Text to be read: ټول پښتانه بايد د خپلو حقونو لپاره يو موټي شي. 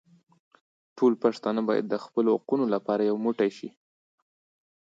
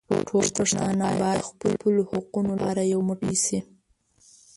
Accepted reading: first